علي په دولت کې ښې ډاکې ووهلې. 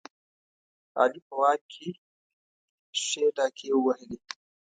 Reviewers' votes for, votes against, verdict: 1, 2, rejected